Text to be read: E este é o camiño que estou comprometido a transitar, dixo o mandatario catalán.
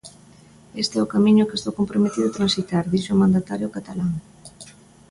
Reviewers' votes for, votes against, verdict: 2, 0, accepted